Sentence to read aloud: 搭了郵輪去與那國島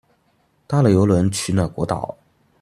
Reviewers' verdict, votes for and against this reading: rejected, 0, 2